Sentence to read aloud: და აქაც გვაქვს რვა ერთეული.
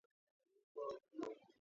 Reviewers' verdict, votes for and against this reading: rejected, 0, 2